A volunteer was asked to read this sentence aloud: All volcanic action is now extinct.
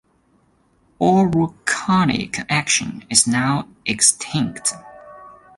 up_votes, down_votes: 2, 0